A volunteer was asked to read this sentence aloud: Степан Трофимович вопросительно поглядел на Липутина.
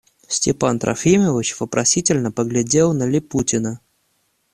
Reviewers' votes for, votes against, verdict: 1, 2, rejected